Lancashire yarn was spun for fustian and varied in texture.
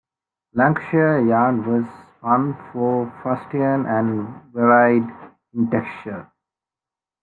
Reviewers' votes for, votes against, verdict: 2, 1, accepted